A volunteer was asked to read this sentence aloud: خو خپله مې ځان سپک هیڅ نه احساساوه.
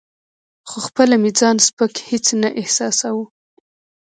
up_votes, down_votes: 2, 1